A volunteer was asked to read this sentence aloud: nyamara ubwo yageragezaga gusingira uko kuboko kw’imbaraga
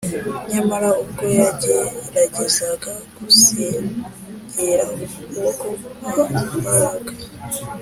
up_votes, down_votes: 5, 0